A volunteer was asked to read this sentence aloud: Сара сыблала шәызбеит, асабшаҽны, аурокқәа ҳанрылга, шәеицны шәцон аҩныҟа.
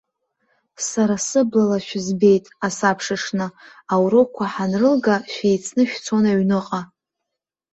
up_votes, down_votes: 2, 0